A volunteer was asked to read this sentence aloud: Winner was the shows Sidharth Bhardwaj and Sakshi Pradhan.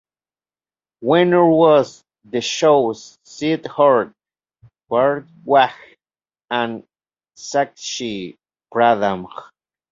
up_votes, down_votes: 2, 0